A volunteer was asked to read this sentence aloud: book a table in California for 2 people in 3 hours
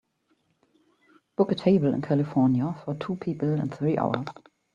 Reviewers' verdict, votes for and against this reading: rejected, 0, 2